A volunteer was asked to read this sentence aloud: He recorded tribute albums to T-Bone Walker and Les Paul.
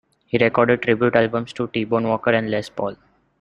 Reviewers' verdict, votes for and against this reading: accepted, 2, 1